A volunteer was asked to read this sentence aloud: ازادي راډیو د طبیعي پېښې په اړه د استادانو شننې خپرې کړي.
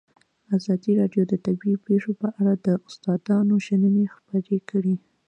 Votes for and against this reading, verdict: 0, 2, rejected